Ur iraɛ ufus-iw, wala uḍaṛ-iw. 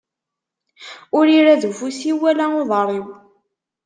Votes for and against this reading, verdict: 0, 2, rejected